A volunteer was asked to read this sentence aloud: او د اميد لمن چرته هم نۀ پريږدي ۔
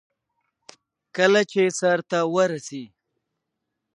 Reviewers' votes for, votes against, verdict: 1, 2, rejected